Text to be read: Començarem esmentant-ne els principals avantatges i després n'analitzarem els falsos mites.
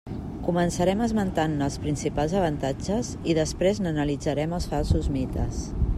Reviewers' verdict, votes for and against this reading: accepted, 2, 0